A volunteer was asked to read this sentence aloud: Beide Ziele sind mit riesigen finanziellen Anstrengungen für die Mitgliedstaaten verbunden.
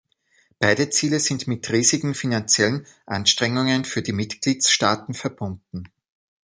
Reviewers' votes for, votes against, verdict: 2, 0, accepted